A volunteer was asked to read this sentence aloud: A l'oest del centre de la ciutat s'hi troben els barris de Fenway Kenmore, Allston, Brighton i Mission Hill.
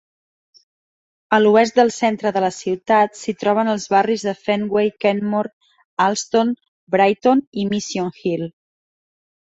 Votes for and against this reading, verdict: 2, 0, accepted